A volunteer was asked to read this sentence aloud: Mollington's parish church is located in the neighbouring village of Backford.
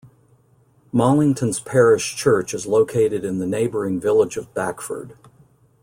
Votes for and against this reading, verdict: 2, 0, accepted